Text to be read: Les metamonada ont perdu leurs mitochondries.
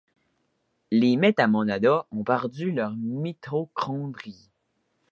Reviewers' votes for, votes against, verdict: 2, 0, accepted